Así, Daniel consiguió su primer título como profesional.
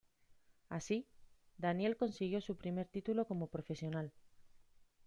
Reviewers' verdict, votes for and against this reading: accepted, 2, 0